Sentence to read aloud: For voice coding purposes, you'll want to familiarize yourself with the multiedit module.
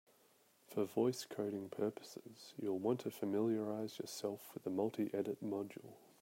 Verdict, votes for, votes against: accepted, 2, 1